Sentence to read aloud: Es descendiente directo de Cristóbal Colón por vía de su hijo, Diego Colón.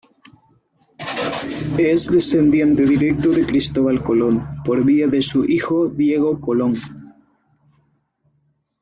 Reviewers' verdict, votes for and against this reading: accepted, 2, 0